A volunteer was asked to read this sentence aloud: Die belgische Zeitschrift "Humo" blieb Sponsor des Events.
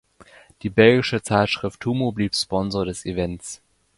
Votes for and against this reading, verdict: 2, 0, accepted